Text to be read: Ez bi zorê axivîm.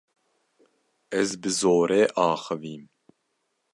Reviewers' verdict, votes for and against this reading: accepted, 2, 0